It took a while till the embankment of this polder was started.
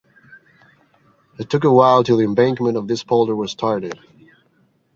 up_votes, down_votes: 0, 2